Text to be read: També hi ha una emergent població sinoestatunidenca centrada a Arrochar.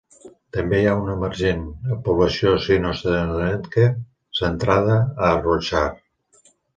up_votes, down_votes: 0, 2